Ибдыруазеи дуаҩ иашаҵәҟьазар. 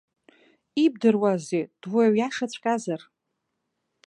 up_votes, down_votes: 2, 0